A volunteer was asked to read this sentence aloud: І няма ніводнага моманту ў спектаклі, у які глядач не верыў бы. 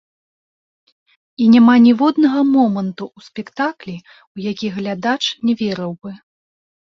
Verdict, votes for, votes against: rejected, 0, 2